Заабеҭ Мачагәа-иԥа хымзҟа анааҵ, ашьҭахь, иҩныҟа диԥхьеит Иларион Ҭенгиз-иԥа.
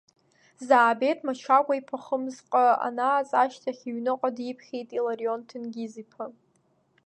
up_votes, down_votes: 3, 0